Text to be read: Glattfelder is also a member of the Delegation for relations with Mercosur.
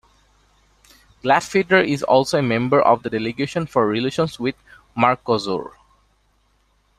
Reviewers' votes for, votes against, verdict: 2, 0, accepted